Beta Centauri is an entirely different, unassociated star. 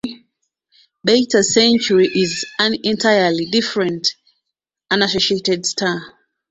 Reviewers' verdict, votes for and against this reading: rejected, 0, 2